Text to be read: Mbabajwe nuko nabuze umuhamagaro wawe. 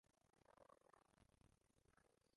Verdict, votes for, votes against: rejected, 0, 3